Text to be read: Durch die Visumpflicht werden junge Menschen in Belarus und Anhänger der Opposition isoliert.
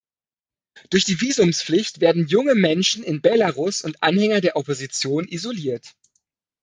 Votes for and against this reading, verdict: 1, 2, rejected